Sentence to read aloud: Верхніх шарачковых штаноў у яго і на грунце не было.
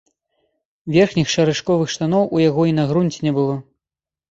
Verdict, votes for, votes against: accepted, 2, 0